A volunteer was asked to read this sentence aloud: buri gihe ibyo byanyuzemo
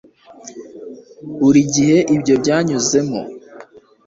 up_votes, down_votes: 2, 1